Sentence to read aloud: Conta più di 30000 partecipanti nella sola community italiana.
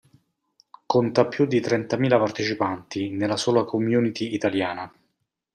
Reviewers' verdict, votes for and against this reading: rejected, 0, 2